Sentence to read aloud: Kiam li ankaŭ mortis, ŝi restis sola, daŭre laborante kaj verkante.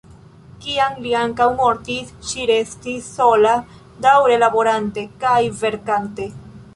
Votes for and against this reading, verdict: 0, 2, rejected